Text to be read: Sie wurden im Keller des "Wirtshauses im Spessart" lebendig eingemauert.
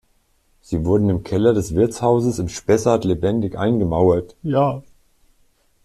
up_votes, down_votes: 0, 2